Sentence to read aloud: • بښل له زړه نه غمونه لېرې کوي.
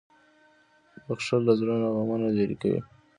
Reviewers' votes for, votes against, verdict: 2, 0, accepted